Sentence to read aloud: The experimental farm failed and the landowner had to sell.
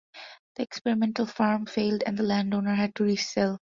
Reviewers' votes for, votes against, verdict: 0, 2, rejected